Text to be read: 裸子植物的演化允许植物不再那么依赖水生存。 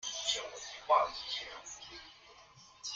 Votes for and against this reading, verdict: 1, 2, rejected